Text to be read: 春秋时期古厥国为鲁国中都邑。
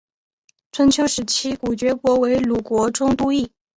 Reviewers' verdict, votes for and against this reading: accepted, 6, 0